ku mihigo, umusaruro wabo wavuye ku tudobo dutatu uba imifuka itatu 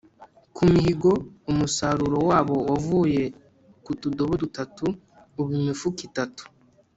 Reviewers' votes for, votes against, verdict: 2, 0, accepted